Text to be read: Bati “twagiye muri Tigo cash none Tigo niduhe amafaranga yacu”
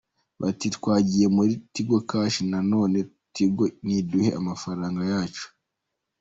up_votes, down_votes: 2, 0